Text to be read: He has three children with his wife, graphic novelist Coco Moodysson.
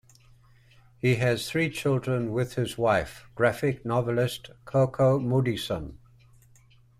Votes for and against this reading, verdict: 2, 0, accepted